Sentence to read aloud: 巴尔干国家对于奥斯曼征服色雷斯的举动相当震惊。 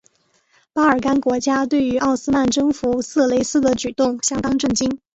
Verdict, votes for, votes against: accepted, 4, 0